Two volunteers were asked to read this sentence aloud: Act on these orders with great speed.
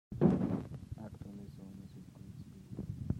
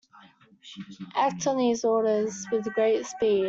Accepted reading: second